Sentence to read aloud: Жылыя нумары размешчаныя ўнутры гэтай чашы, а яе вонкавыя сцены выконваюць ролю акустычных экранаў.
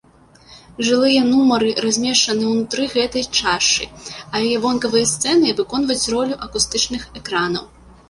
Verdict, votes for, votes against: rejected, 1, 2